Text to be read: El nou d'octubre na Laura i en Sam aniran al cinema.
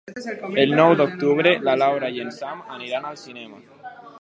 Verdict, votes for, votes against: accepted, 3, 0